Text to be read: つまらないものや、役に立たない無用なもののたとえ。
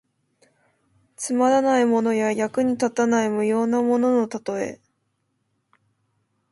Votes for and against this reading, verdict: 1, 2, rejected